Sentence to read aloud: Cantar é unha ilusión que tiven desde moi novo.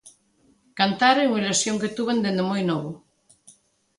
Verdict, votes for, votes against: rejected, 0, 2